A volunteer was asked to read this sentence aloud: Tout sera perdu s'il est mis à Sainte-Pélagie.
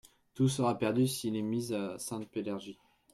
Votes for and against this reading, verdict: 1, 2, rejected